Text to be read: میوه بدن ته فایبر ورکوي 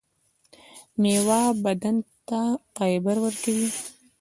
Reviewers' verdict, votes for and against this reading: accepted, 2, 0